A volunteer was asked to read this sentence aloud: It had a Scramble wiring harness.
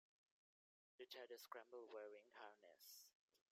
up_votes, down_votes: 0, 2